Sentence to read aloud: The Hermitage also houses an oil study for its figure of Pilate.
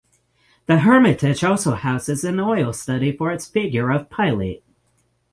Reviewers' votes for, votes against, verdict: 9, 0, accepted